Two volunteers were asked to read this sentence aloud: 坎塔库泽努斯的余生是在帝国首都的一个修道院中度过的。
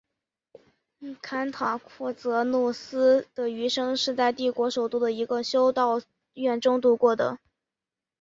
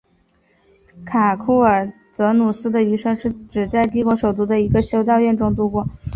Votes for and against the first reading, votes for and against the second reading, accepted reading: 4, 1, 1, 2, first